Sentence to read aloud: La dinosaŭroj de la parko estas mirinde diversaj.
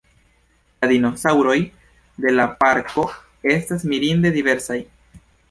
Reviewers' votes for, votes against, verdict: 1, 2, rejected